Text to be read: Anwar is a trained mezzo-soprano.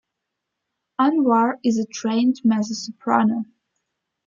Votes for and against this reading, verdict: 2, 0, accepted